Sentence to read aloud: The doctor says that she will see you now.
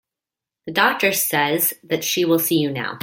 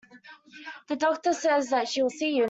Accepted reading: first